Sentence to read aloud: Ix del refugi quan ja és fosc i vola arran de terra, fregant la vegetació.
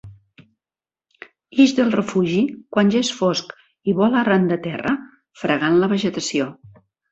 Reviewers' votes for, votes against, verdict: 2, 0, accepted